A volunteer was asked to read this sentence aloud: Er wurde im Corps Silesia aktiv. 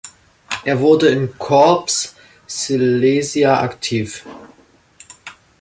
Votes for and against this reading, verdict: 3, 0, accepted